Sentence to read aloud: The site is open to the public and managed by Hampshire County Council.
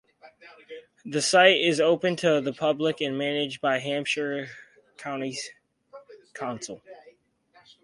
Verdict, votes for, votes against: rejected, 0, 4